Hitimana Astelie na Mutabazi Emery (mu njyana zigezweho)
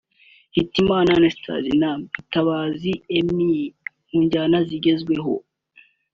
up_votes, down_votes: 3, 0